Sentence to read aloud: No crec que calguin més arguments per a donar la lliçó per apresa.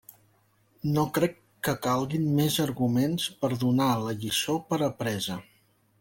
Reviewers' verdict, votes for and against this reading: rejected, 1, 2